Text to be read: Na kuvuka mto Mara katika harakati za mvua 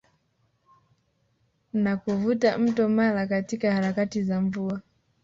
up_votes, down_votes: 3, 1